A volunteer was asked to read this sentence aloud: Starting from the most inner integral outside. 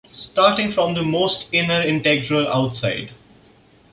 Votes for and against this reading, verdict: 2, 0, accepted